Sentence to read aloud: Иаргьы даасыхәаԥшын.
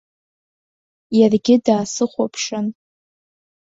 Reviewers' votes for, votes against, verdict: 2, 0, accepted